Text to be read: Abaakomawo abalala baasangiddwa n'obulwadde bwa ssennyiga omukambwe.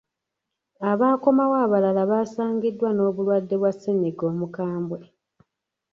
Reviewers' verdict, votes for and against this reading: rejected, 1, 2